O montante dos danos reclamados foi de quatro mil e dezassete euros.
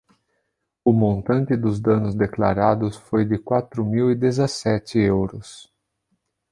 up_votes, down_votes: 0, 2